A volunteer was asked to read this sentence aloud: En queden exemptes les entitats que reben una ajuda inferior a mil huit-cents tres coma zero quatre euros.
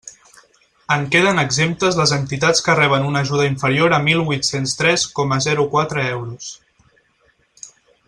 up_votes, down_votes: 4, 0